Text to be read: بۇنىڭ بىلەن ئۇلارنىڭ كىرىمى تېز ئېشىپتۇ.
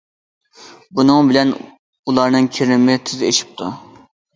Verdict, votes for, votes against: accepted, 2, 0